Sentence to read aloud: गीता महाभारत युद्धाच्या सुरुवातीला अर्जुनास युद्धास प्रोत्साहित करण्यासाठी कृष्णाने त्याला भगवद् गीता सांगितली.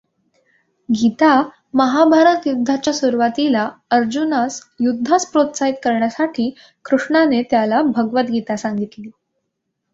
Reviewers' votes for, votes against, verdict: 2, 1, accepted